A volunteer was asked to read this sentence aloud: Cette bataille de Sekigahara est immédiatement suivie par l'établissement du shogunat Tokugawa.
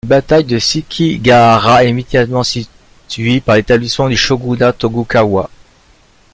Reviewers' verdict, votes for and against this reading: rejected, 0, 2